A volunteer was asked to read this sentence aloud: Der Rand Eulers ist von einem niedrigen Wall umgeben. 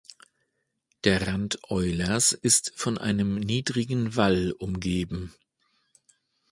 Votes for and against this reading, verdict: 2, 0, accepted